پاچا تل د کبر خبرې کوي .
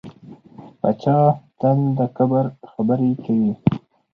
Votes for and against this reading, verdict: 2, 2, rejected